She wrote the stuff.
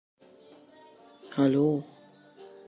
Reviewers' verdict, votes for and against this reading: rejected, 0, 2